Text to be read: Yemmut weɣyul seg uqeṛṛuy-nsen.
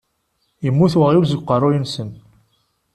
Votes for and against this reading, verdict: 2, 0, accepted